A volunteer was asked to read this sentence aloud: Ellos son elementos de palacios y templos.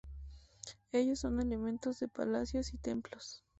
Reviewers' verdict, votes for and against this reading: accepted, 2, 0